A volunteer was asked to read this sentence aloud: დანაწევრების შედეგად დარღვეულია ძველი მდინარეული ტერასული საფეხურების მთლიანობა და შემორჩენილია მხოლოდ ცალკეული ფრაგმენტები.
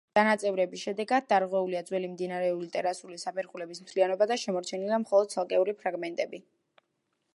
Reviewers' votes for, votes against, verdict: 2, 1, accepted